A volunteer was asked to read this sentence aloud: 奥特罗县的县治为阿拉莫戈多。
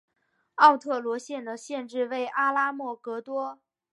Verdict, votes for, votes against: rejected, 1, 2